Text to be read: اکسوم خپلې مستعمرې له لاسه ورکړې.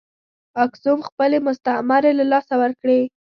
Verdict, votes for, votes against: accepted, 2, 0